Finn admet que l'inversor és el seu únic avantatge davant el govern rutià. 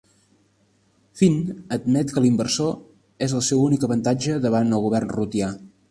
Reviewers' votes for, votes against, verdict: 3, 0, accepted